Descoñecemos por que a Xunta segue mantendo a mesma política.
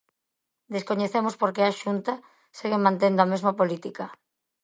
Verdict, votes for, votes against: accepted, 2, 0